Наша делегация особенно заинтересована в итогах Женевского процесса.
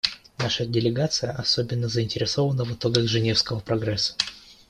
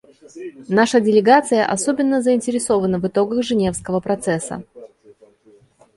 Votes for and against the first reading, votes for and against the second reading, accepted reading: 0, 2, 2, 0, second